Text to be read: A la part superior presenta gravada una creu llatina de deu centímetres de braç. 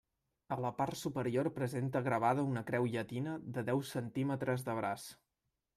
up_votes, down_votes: 1, 2